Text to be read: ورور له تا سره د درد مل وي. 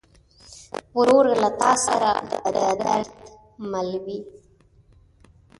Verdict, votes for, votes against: rejected, 1, 3